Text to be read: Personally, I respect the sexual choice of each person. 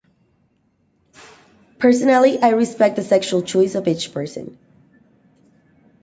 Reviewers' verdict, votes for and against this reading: accepted, 2, 0